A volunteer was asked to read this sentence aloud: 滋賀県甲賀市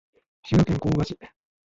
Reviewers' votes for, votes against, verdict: 0, 2, rejected